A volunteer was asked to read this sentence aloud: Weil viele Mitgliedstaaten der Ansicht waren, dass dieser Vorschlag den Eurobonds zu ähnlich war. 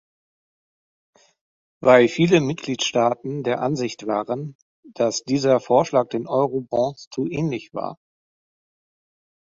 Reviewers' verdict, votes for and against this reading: rejected, 1, 2